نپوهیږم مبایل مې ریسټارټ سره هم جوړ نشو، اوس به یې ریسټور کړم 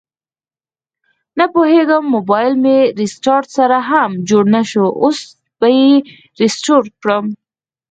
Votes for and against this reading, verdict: 4, 0, accepted